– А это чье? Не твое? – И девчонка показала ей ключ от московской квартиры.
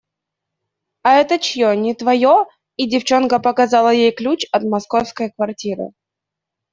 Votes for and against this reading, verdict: 2, 0, accepted